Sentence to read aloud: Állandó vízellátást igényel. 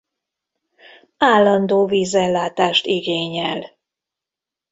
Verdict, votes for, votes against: accepted, 2, 0